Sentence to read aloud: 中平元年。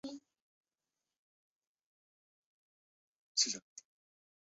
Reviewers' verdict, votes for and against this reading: rejected, 1, 4